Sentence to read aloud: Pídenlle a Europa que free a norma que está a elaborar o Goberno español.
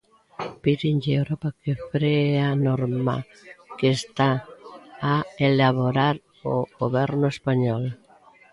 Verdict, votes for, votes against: accepted, 2, 0